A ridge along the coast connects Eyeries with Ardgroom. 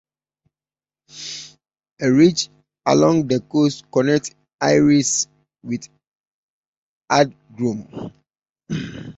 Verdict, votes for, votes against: accepted, 2, 0